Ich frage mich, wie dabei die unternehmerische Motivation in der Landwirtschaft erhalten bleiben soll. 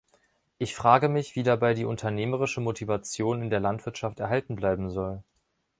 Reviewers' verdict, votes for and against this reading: accepted, 3, 0